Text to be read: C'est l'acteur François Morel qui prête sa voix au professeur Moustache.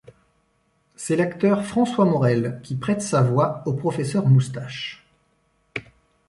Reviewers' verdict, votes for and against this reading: accepted, 2, 0